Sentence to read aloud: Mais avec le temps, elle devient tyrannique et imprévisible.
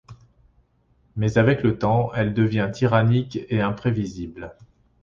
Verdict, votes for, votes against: accepted, 2, 0